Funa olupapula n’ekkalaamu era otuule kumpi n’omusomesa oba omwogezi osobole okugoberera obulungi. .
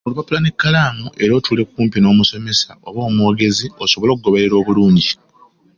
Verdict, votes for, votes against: rejected, 1, 2